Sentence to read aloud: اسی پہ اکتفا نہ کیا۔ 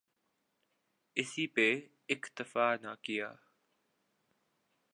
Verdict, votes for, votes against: accepted, 2, 0